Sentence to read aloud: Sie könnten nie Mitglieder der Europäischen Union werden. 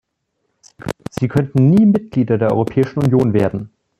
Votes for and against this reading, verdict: 2, 3, rejected